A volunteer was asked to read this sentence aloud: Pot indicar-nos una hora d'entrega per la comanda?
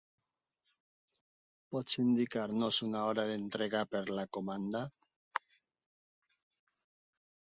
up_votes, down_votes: 0, 2